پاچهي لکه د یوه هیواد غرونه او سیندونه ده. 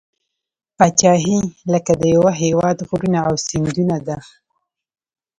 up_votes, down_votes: 2, 0